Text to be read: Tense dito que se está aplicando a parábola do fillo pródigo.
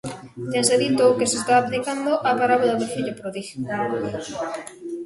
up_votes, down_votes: 0, 2